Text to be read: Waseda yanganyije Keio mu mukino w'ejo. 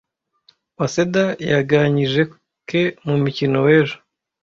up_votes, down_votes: 1, 2